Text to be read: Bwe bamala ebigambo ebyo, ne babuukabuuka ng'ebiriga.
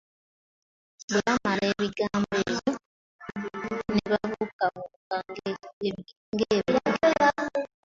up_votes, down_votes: 0, 2